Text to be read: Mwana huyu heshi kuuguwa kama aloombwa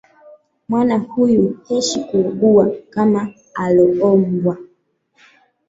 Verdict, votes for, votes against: rejected, 1, 2